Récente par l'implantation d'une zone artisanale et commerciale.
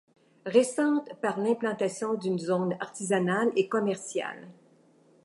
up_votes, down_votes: 2, 0